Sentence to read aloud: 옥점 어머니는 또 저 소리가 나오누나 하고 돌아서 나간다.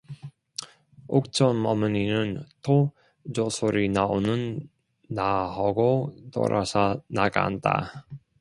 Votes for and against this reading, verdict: 1, 2, rejected